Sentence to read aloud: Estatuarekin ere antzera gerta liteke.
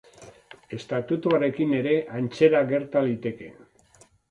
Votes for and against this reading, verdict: 0, 2, rejected